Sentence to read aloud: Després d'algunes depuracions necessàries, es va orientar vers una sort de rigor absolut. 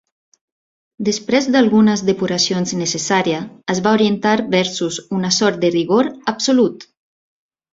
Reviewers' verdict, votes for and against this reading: rejected, 0, 2